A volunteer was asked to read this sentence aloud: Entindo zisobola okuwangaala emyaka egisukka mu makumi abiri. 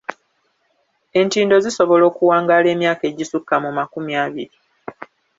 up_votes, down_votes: 2, 0